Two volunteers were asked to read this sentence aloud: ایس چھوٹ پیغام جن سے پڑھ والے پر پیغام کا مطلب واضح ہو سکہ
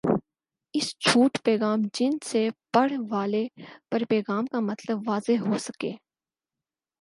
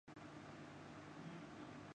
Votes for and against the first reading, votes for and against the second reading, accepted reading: 4, 0, 0, 2, first